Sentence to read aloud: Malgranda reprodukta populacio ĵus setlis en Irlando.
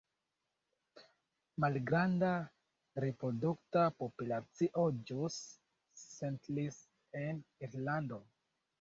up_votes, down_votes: 0, 2